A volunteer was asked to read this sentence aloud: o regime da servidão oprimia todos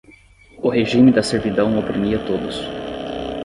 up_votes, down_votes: 10, 0